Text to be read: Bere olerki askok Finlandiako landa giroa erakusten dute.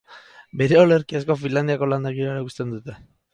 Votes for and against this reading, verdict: 0, 6, rejected